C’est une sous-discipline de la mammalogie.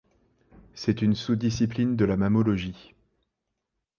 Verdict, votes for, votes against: rejected, 0, 2